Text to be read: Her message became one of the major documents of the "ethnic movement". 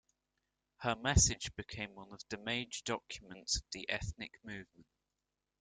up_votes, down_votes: 2, 0